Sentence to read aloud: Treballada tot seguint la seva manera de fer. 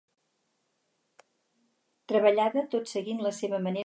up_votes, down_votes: 0, 4